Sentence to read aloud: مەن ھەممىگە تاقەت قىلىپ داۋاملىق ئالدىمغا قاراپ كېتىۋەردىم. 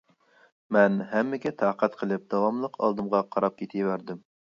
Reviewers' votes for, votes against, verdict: 2, 0, accepted